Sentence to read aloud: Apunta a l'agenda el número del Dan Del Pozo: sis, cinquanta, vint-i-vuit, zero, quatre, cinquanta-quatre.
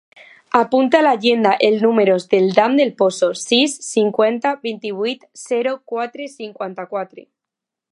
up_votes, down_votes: 2, 1